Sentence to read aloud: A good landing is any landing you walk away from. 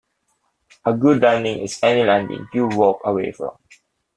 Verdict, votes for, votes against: accepted, 2, 0